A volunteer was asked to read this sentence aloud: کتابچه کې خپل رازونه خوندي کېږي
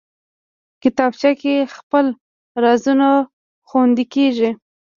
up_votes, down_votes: 1, 2